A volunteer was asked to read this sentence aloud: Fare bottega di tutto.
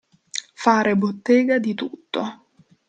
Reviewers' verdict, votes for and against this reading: accepted, 2, 0